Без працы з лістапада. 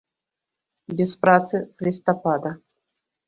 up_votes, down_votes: 1, 2